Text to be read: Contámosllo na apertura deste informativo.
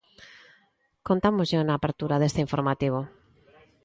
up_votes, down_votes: 1, 2